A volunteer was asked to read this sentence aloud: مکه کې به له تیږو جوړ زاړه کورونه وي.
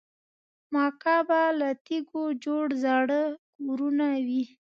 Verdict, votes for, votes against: rejected, 0, 2